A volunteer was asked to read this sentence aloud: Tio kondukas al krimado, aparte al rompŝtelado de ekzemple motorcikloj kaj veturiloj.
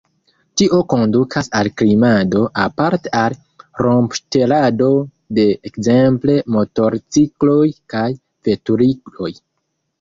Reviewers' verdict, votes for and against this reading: rejected, 1, 2